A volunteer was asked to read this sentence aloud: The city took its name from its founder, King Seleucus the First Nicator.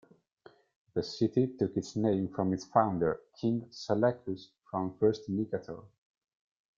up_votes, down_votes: 2, 0